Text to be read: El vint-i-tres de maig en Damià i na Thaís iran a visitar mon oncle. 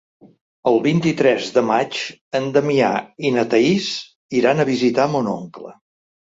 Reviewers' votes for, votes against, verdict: 3, 0, accepted